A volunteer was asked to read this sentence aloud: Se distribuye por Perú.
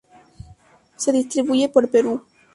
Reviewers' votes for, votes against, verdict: 2, 0, accepted